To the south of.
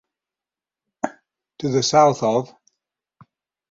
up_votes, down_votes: 6, 0